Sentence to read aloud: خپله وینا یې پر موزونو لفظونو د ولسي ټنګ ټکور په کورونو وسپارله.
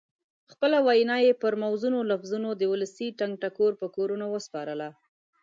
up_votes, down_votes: 2, 0